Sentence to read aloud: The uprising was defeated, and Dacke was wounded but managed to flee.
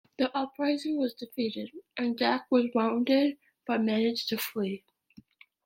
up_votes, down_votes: 2, 0